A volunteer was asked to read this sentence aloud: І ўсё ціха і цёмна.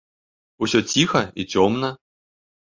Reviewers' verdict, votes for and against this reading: rejected, 3, 4